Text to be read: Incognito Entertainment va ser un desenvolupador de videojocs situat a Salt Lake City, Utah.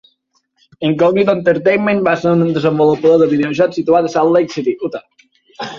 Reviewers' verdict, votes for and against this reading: rejected, 2, 4